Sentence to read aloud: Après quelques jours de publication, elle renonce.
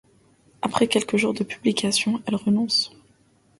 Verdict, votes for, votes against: accepted, 2, 1